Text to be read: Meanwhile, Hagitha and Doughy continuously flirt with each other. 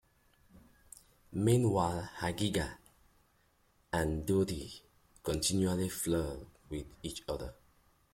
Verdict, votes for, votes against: accepted, 2, 1